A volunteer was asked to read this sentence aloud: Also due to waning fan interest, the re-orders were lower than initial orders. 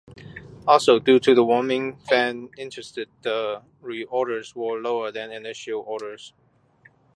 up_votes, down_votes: 0, 2